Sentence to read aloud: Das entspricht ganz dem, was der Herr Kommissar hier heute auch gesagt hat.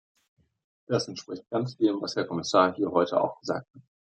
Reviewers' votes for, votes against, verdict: 0, 2, rejected